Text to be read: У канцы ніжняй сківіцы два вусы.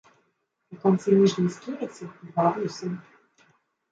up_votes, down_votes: 1, 2